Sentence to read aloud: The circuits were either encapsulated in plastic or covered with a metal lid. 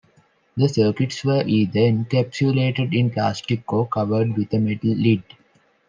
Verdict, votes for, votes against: accepted, 2, 0